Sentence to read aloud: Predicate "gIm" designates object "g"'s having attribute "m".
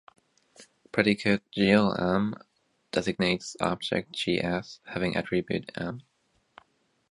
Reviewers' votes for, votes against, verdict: 0, 2, rejected